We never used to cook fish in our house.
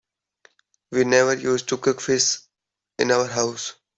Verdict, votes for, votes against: accepted, 2, 0